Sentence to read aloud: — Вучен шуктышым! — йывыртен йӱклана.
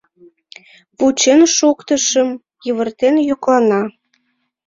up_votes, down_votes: 2, 1